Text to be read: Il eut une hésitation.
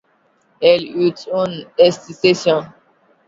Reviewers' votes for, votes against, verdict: 1, 2, rejected